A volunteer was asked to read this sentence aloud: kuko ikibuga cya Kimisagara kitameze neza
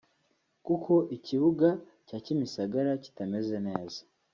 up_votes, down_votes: 2, 1